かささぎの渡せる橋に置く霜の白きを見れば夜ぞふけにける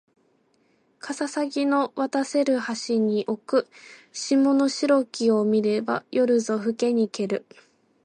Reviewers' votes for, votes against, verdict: 2, 0, accepted